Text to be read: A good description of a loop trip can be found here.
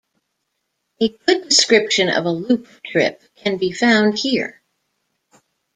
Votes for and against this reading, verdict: 2, 3, rejected